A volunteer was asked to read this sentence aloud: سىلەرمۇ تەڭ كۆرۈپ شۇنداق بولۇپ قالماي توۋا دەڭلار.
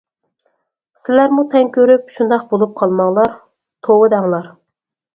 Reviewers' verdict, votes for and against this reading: rejected, 0, 4